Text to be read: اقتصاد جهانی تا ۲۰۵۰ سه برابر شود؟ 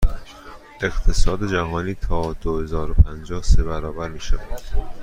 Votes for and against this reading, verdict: 0, 2, rejected